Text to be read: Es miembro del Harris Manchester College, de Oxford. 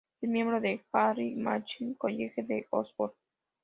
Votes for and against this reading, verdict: 2, 0, accepted